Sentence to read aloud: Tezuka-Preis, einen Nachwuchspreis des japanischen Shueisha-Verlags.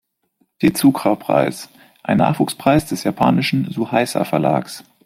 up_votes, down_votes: 0, 2